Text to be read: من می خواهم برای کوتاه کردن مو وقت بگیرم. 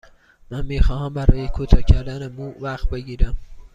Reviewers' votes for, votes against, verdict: 2, 0, accepted